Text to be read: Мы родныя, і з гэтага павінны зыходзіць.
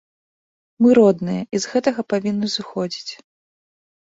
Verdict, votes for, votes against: accepted, 2, 0